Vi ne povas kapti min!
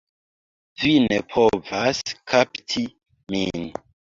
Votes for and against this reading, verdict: 1, 2, rejected